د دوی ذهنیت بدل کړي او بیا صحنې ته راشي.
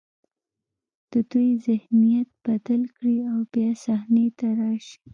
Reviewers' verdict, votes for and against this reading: accepted, 3, 0